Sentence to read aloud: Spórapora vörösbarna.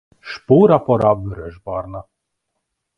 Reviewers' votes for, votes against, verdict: 2, 1, accepted